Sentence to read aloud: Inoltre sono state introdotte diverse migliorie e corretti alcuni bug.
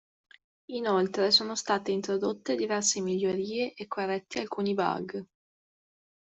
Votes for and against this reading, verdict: 2, 1, accepted